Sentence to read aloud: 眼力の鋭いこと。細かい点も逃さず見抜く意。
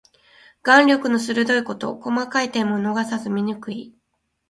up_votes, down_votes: 2, 1